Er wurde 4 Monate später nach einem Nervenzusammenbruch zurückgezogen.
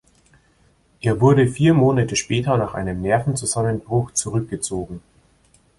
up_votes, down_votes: 0, 2